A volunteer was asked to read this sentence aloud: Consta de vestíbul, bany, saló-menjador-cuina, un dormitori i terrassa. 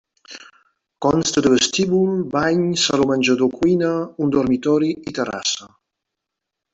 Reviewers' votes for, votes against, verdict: 1, 2, rejected